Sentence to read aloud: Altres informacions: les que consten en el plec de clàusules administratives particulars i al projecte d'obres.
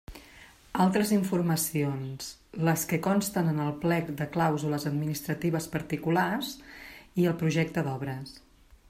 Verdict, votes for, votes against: accepted, 2, 0